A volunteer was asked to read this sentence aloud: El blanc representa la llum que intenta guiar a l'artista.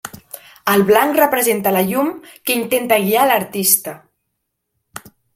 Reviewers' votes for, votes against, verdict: 2, 0, accepted